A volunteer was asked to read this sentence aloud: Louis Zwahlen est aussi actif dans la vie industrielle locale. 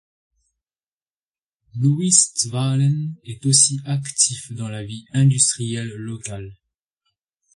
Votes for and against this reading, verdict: 2, 0, accepted